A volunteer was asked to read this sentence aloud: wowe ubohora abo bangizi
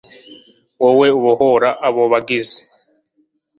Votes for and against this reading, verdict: 2, 0, accepted